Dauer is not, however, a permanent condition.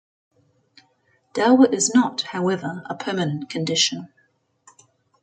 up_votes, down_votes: 2, 0